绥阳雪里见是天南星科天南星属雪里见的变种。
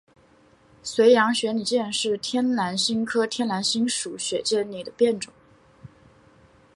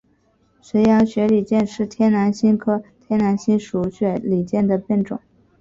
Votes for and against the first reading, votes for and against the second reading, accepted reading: 4, 2, 2, 2, first